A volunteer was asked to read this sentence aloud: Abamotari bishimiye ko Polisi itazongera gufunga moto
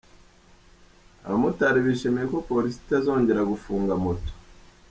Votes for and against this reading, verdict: 2, 0, accepted